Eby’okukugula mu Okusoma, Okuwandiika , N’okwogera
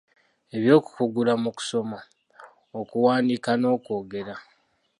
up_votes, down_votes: 2, 1